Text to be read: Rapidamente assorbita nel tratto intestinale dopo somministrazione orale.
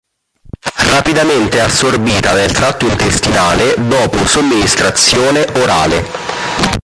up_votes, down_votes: 1, 2